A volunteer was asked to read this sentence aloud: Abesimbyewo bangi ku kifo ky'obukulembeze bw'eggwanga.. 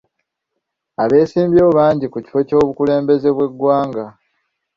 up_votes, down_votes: 2, 1